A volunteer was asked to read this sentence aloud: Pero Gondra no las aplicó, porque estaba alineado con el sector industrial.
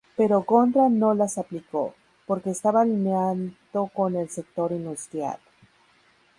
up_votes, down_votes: 2, 0